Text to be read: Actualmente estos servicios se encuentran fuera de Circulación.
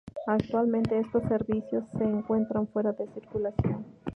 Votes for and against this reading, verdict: 2, 0, accepted